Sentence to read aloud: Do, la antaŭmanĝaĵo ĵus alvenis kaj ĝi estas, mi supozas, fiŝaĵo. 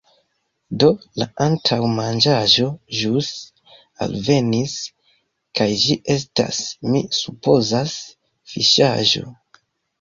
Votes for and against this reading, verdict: 2, 0, accepted